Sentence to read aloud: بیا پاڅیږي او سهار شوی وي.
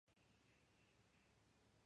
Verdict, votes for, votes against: rejected, 0, 2